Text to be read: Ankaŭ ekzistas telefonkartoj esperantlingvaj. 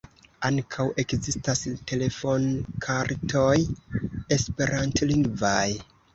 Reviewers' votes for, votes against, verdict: 2, 0, accepted